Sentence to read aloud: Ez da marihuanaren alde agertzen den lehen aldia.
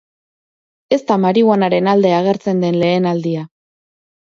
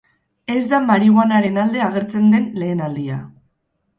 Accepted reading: first